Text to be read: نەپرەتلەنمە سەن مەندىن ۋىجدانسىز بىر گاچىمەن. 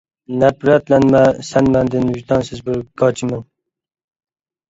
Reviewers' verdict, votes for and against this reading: rejected, 1, 2